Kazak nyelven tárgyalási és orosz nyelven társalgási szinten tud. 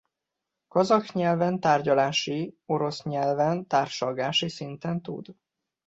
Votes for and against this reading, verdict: 0, 2, rejected